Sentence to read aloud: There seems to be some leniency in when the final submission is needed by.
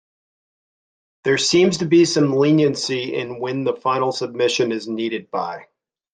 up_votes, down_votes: 2, 0